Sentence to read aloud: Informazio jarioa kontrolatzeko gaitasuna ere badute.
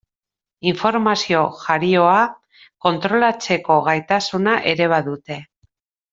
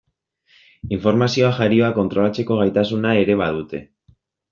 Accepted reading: first